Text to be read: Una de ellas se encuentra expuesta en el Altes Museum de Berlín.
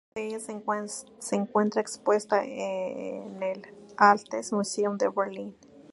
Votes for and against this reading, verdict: 0, 2, rejected